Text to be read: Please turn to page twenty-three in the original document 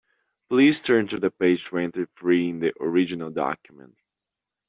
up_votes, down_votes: 0, 2